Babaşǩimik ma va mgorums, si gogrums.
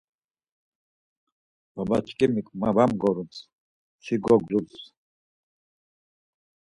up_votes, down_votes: 2, 4